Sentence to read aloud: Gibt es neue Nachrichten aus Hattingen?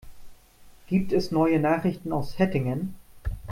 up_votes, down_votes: 0, 2